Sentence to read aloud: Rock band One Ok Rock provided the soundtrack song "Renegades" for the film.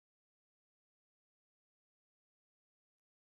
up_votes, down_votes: 0, 3